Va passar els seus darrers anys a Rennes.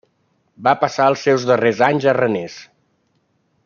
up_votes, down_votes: 0, 2